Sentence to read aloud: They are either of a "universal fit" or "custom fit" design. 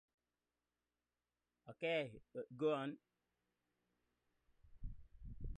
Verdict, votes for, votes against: rejected, 0, 2